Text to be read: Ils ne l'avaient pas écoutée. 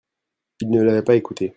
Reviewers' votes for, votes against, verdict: 0, 2, rejected